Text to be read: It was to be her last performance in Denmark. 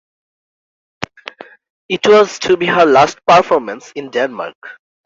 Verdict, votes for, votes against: accepted, 2, 0